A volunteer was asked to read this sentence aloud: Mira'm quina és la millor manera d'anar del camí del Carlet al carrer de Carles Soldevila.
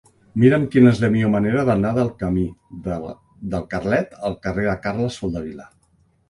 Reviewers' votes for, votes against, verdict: 0, 2, rejected